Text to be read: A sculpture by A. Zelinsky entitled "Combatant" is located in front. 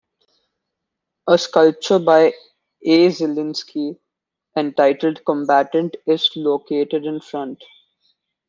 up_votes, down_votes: 1, 2